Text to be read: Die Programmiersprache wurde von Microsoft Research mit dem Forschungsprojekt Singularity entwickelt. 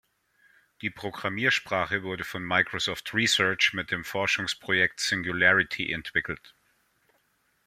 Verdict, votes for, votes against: accepted, 2, 0